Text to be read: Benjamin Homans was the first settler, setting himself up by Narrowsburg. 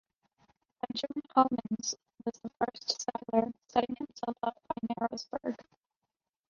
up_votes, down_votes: 2, 1